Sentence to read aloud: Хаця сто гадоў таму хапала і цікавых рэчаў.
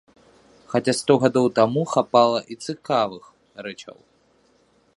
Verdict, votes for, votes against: rejected, 0, 2